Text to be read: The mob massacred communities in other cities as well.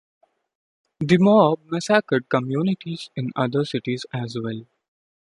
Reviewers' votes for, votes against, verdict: 0, 2, rejected